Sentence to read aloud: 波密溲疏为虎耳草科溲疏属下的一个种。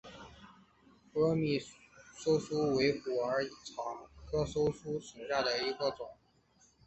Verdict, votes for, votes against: accepted, 2, 1